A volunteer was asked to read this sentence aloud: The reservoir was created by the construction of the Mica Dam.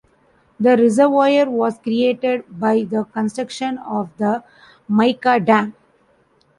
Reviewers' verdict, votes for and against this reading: rejected, 1, 2